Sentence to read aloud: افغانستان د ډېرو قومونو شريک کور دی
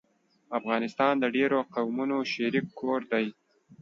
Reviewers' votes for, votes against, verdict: 2, 0, accepted